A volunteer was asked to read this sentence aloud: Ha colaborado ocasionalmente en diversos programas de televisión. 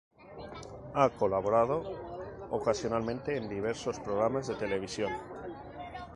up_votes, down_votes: 0, 2